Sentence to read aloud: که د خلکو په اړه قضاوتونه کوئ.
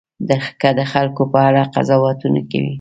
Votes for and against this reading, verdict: 2, 0, accepted